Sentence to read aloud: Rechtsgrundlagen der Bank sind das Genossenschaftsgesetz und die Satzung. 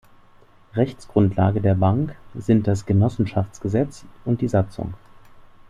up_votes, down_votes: 2, 4